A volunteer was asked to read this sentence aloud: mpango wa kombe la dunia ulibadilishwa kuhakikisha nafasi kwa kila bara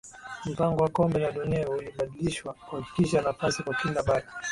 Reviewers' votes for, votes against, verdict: 8, 2, accepted